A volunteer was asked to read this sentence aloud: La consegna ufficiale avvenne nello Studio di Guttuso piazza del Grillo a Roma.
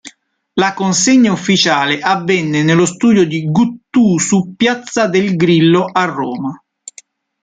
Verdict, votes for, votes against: rejected, 0, 2